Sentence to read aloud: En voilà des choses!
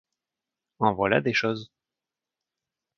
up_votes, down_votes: 2, 0